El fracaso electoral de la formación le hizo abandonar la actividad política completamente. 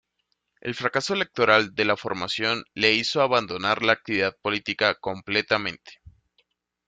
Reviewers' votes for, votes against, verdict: 2, 0, accepted